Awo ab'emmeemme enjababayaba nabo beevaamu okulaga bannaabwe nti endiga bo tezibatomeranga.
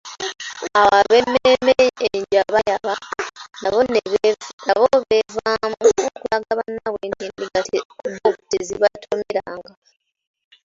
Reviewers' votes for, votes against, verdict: 0, 3, rejected